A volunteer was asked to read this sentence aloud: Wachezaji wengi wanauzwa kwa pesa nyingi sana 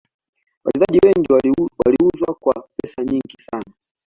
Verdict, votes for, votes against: rejected, 1, 2